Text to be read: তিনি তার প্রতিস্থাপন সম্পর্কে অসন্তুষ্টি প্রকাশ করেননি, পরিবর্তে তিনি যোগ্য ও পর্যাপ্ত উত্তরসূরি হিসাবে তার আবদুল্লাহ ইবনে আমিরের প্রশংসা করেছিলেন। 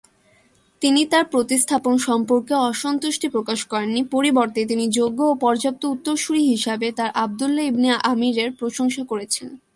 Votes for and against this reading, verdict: 0, 2, rejected